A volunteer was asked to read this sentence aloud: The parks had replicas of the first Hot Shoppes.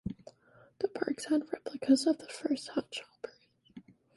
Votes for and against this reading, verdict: 0, 2, rejected